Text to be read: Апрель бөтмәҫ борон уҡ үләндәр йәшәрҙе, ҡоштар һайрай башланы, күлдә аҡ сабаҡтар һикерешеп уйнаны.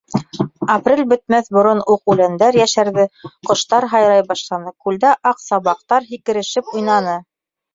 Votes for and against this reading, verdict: 1, 2, rejected